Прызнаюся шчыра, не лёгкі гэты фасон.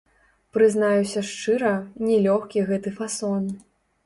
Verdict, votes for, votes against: rejected, 0, 3